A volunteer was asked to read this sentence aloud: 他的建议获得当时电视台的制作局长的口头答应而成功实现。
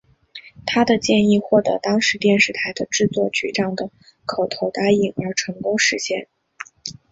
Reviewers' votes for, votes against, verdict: 2, 1, accepted